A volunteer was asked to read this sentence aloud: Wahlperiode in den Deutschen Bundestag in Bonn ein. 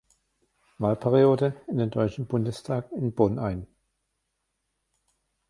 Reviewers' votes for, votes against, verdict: 1, 2, rejected